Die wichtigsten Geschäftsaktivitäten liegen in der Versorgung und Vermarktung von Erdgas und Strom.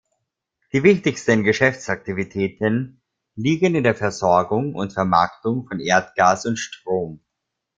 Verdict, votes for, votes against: rejected, 0, 2